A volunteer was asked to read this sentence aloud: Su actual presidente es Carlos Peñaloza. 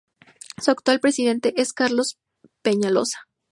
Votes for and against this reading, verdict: 2, 0, accepted